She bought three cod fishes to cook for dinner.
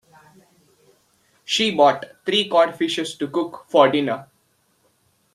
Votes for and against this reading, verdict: 2, 0, accepted